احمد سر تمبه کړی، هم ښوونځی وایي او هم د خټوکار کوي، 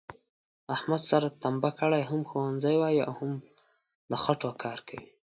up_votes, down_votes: 2, 0